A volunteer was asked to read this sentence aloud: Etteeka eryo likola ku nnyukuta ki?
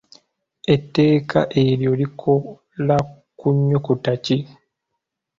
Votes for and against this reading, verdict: 2, 1, accepted